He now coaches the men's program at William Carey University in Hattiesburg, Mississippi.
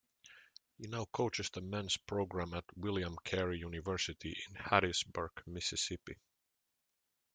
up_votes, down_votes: 1, 2